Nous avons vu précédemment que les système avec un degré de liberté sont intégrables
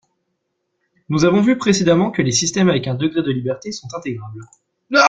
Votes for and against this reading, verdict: 1, 2, rejected